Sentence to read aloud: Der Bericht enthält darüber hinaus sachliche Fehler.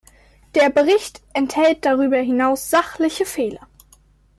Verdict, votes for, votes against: accepted, 2, 0